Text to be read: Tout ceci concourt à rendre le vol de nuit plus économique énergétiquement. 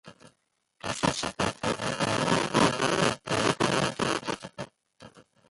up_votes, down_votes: 0, 2